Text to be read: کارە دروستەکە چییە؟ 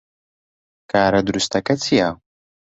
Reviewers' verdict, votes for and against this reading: accepted, 2, 0